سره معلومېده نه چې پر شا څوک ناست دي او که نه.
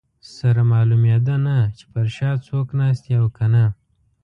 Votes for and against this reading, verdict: 2, 0, accepted